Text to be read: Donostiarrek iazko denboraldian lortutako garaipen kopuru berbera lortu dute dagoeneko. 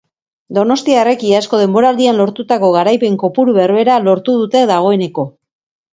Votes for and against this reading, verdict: 2, 0, accepted